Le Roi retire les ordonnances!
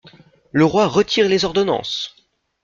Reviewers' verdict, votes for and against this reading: accepted, 2, 0